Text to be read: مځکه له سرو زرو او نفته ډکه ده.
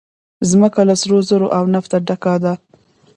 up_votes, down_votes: 1, 2